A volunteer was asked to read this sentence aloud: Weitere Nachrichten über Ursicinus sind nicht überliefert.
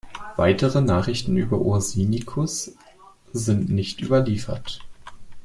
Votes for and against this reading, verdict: 2, 1, accepted